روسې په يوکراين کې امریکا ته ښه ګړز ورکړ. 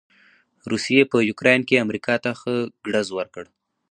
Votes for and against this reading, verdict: 2, 2, rejected